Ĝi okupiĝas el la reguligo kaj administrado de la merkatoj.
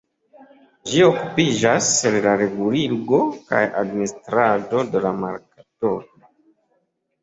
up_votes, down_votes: 1, 2